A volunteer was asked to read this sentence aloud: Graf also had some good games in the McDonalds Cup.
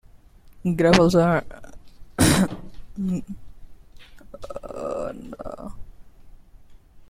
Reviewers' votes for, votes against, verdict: 0, 2, rejected